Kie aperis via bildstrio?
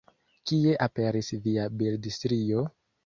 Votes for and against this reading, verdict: 0, 2, rejected